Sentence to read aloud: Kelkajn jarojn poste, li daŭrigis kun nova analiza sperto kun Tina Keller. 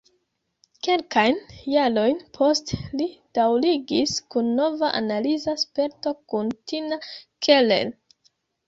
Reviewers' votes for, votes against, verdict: 1, 2, rejected